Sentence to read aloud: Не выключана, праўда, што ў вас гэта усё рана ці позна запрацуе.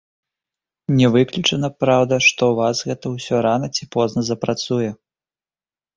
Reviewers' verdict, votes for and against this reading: accepted, 2, 0